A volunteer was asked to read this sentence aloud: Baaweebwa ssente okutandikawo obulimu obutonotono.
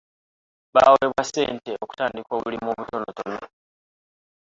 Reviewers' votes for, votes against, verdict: 0, 2, rejected